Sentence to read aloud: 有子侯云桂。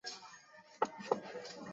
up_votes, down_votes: 0, 4